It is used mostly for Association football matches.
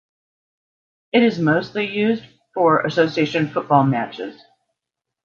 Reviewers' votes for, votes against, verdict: 1, 2, rejected